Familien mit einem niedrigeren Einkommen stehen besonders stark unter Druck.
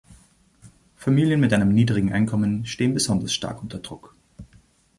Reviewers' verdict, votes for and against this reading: rejected, 0, 2